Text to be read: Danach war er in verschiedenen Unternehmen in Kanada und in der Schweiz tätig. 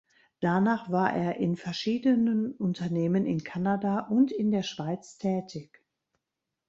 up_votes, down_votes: 2, 0